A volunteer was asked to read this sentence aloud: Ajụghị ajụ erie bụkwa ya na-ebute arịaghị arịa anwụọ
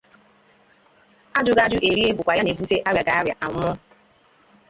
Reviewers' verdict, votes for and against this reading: rejected, 0, 2